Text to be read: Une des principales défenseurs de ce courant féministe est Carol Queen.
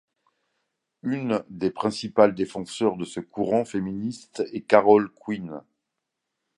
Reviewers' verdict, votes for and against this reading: accepted, 2, 0